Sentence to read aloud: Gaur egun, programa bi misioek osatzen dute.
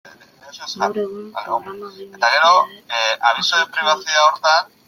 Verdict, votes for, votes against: rejected, 0, 2